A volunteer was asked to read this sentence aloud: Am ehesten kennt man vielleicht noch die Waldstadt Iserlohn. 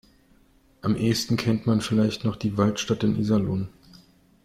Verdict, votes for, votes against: rejected, 0, 2